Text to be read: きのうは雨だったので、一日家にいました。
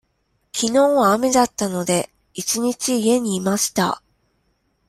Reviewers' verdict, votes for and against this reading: accepted, 2, 0